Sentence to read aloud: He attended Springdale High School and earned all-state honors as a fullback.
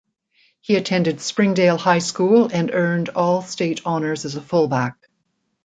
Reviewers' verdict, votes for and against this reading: accepted, 2, 0